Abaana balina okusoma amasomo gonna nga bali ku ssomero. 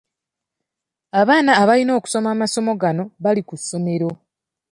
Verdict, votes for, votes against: rejected, 1, 2